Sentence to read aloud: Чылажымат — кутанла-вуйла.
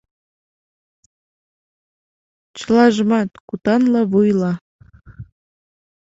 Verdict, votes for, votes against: accepted, 2, 1